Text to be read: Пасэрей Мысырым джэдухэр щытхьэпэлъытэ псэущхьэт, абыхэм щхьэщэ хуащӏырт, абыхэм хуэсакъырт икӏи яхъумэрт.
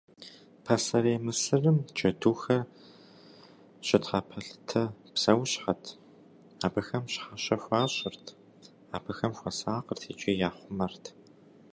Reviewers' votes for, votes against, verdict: 2, 0, accepted